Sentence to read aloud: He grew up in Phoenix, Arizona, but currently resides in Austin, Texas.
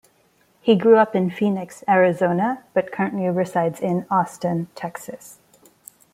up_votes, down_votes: 2, 0